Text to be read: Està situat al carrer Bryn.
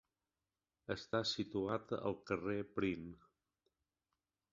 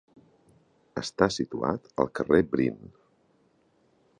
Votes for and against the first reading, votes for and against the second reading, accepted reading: 1, 2, 2, 0, second